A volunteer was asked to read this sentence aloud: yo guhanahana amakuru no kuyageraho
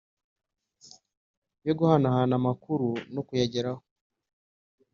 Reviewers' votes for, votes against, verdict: 2, 0, accepted